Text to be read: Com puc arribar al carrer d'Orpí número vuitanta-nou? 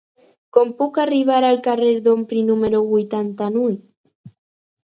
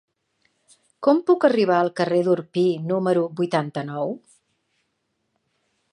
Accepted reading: second